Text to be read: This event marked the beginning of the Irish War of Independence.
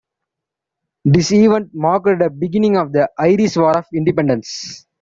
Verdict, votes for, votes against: accepted, 2, 0